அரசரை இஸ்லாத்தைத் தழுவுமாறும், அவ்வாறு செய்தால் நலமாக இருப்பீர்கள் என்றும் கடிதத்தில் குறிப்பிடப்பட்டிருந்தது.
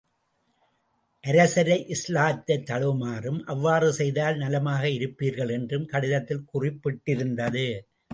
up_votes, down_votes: 0, 2